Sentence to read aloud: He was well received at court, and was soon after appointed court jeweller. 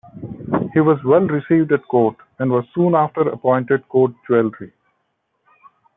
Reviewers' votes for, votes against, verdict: 2, 1, accepted